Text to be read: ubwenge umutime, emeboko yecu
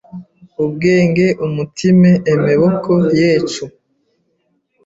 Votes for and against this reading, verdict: 1, 2, rejected